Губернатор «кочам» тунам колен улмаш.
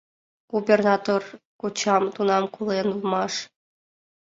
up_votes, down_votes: 2, 0